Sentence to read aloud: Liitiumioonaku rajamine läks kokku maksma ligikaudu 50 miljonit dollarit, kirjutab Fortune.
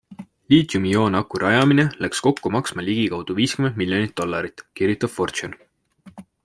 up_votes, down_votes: 0, 2